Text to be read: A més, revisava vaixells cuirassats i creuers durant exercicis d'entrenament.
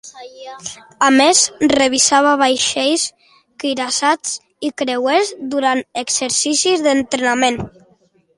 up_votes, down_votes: 2, 0